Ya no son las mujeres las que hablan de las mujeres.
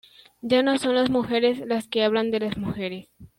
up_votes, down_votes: 2, 0